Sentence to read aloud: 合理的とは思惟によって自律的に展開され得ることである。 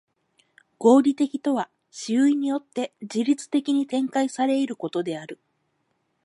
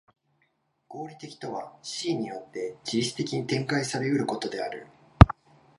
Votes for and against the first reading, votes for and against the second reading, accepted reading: 2, 4, 2, 0, second